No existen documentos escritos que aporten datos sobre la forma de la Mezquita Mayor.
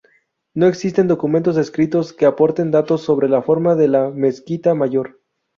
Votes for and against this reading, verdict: 2, 0, accepted